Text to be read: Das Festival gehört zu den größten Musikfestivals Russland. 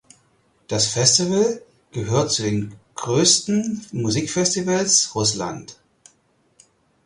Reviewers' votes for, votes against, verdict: 4, 0, accepted